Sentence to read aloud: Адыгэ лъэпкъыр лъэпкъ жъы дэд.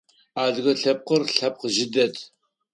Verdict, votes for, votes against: accepted, 4, 0